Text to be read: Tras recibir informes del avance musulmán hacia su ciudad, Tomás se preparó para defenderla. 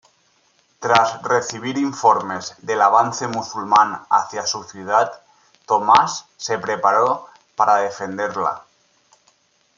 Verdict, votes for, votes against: accepted, 2, 0